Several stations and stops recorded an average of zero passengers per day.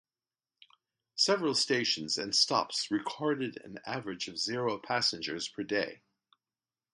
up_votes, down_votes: 2, 0